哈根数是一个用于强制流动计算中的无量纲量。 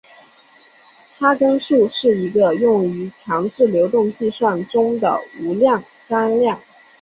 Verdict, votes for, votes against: accepted, 2, 0